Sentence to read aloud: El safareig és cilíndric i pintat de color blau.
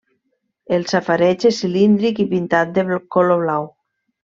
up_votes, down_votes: 1, 2